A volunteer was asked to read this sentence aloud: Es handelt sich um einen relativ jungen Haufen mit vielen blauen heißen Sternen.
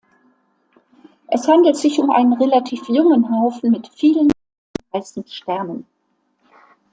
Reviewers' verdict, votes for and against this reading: rejected, 0, 2